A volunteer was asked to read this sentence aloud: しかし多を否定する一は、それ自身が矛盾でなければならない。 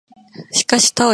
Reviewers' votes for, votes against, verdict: 0, 2, rejected